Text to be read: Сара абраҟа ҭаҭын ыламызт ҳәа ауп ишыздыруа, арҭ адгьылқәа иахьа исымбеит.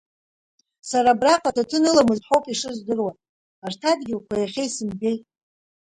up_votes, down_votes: 2, 1